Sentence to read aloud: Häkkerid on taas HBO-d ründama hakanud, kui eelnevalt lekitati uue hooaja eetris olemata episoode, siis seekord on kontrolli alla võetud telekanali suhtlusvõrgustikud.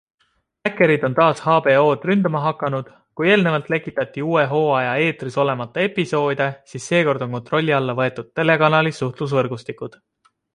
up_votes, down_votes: 2, 0